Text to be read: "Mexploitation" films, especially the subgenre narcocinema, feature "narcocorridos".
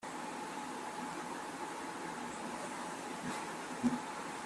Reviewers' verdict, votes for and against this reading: rejected, 0, 2